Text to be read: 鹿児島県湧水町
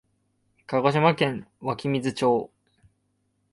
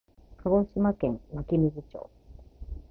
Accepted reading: second